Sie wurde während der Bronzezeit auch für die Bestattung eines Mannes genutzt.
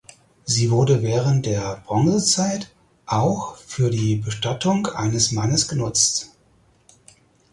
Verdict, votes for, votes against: accepted, 4, 0